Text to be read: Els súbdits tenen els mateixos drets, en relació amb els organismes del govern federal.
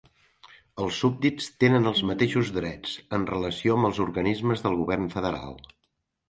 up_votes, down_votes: 4, 0